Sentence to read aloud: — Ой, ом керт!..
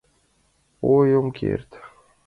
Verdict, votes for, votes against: accepted, 2, 0